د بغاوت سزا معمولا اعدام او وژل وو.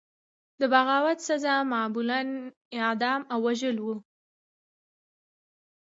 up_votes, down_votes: 1, 2